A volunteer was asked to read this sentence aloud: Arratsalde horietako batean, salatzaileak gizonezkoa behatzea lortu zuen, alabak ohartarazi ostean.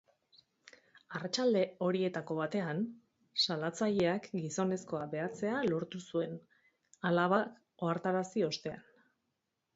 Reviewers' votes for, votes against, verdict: 2, 4, rejected